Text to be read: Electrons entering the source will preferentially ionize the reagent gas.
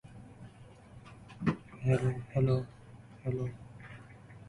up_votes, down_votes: 0, 2